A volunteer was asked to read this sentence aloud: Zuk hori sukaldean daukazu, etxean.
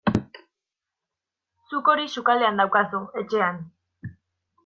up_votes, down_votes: 2, 0